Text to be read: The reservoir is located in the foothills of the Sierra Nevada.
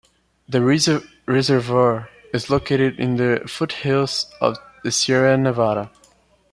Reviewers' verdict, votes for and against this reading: rejected, 1, 2